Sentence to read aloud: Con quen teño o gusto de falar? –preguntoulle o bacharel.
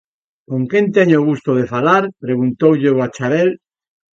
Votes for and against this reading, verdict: 2, 1, accepted